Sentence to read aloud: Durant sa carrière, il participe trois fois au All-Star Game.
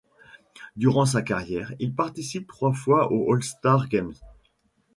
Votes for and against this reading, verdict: 1, 2, rejected